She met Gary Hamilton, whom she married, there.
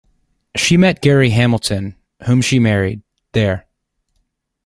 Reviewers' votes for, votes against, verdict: 2, 0, accepted